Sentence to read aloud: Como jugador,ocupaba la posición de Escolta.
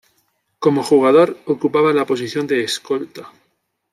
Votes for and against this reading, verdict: 2, 0, accepted